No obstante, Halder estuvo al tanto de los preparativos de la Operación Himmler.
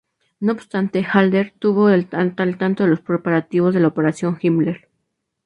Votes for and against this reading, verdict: 2, 0, accepted